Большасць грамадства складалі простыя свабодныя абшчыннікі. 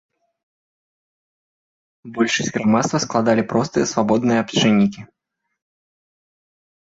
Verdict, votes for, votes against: accepted, 2, 0